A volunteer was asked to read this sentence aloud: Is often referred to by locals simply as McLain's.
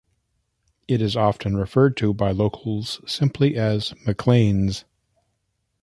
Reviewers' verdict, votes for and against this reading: rejected, 1, 2